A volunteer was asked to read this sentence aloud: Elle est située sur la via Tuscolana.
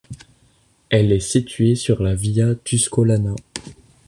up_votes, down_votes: 2, 0